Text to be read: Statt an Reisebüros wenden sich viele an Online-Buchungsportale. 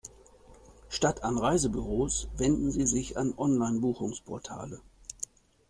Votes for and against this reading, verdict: 1, 2, rejected